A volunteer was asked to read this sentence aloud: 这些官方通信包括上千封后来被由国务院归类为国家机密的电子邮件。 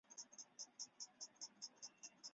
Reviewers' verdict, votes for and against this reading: rejected, 0, 3